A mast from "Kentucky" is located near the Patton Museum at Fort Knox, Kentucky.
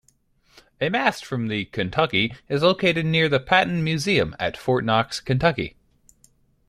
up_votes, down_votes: 1, 2